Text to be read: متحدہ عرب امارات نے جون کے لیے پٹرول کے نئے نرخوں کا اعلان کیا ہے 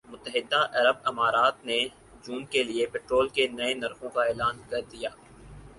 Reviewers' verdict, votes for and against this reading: accepted, 4, 2